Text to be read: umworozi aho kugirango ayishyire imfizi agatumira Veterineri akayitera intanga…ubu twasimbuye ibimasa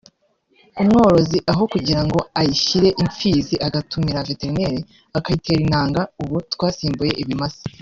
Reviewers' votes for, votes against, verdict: 1, 2, rejected